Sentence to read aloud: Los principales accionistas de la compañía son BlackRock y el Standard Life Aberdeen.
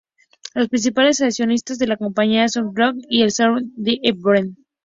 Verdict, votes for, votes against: rejected, 0, 2